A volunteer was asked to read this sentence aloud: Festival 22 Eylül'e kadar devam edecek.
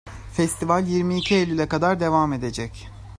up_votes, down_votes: 0, 2